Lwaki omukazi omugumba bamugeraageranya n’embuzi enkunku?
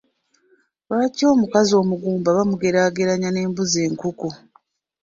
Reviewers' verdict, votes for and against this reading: rejected, 0, 2